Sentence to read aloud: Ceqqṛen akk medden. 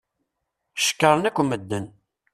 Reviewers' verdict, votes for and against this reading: rejected, 1, 2